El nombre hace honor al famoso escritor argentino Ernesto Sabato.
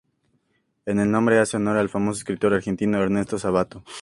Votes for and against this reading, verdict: 2, 0, accepted